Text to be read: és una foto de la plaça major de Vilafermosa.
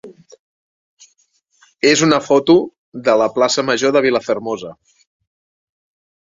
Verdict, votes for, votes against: accepted, 3, 0